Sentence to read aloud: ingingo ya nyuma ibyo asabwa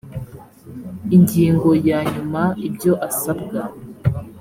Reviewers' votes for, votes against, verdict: 3, 0, accepted